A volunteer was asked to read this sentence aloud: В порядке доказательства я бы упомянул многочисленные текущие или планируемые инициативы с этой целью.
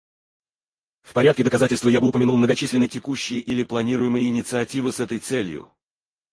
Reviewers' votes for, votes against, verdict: 2, 4, rejected